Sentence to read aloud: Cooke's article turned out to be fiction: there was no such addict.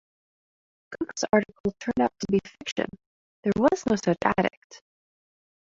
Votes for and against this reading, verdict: 0, 2, rejected